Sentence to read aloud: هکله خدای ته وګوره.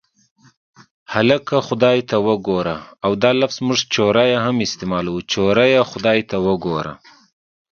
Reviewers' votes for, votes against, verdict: 1, 2, rejected